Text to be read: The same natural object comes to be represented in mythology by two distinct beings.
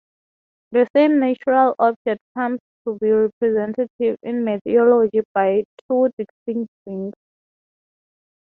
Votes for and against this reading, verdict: 3, 0, accepted